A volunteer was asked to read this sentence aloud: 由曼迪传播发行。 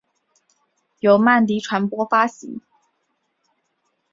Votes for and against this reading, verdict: 2, 0, accepted